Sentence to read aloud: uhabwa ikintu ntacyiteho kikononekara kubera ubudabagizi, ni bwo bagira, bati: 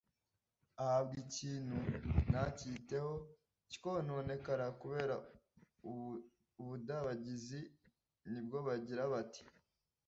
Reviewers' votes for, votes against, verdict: 1, 2, rejected